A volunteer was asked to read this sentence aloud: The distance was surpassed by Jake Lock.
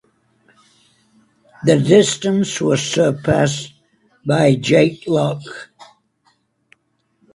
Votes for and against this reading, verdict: 2, 0, accepted